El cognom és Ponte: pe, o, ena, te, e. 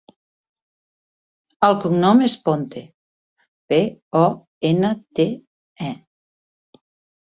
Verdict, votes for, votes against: accepted, 2, 0